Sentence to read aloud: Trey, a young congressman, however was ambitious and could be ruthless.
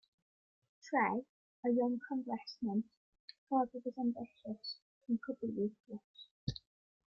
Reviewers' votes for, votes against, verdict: 1, 2, rejected